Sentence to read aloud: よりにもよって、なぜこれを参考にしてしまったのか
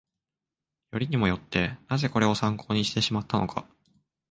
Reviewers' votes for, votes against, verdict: 2, 0, accepted